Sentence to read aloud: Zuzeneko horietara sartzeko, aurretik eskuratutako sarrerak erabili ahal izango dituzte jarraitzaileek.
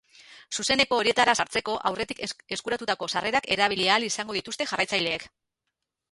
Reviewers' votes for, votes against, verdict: 2, 2, rejected